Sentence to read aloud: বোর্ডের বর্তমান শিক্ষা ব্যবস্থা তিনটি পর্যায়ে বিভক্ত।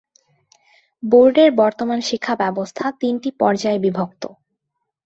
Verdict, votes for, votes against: accepted, 9, 0